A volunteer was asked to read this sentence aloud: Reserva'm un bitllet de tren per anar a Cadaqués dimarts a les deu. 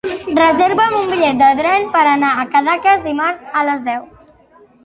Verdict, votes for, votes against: rejected, 0, 2